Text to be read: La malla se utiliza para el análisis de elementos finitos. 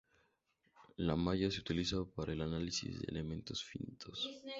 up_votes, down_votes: 0, 2